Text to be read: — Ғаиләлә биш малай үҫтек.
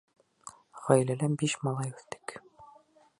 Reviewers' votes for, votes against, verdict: 2, 0, accepted